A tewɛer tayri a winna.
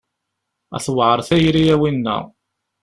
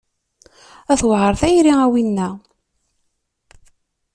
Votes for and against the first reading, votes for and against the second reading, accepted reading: 1, 2, 2, 0, second